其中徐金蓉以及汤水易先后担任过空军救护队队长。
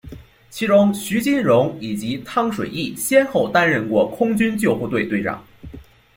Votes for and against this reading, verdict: 2, 0, accepted